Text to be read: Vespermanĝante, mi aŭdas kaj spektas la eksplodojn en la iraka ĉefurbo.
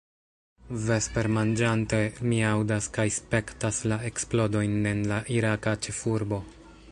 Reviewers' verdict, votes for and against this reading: accepted, 2, 1